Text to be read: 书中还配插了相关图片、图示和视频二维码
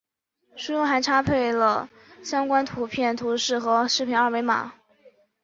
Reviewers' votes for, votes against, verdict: 2, 0, accepted